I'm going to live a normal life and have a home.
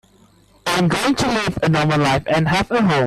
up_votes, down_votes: 0, 2